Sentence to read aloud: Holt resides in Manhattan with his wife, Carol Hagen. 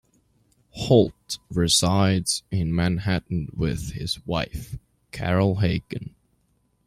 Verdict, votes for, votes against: accepted, 2, 0